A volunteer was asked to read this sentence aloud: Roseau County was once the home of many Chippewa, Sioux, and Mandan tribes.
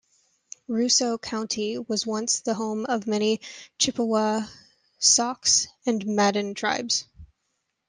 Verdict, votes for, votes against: rejected, 1, 2